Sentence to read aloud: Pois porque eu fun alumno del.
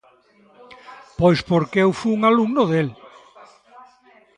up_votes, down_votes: 2, 0